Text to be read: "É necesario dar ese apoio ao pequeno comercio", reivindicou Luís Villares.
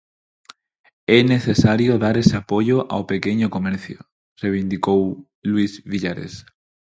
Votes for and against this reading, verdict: 0, 4, rejected